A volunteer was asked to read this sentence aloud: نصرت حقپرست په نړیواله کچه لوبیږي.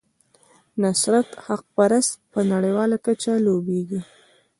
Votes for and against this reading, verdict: 2, 1, accepted